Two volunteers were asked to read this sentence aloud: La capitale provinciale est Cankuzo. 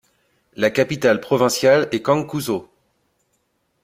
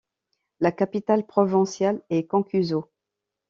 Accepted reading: first